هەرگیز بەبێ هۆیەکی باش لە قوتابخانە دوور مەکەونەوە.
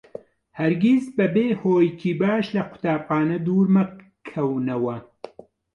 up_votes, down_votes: 1, 2